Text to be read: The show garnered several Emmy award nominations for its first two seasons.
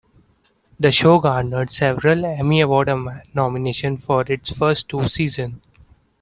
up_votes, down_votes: 1, 2